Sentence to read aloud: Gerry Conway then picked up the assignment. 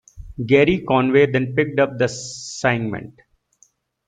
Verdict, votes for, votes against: rejected, 0, 2